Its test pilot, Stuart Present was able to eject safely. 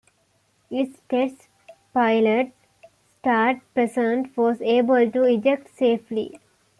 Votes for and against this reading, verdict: 0, 2, rejected